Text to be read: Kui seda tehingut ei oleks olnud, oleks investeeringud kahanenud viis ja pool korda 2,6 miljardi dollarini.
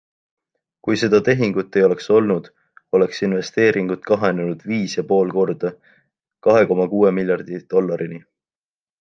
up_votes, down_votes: 0, 2